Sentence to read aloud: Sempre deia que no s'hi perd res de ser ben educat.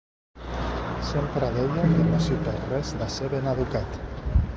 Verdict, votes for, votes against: rejected, 0, 2